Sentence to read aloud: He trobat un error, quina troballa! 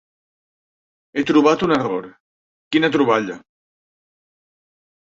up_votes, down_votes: 3, 0